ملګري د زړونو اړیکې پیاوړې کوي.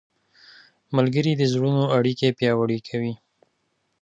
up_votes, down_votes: 2, 0